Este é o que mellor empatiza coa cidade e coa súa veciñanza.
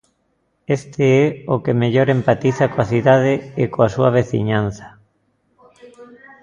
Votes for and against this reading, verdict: 1, 2, rejected